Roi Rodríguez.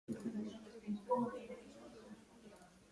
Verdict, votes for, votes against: rejected, 0, 2